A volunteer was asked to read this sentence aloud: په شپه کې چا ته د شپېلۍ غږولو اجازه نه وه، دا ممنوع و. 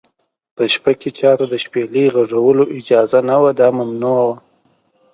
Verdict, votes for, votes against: accepted, 2, 0